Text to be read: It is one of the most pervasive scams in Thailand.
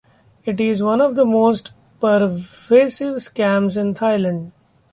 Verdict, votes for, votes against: rejected, 0, 2